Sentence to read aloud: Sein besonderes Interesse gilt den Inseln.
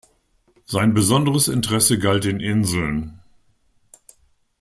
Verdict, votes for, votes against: rejected, 1, 2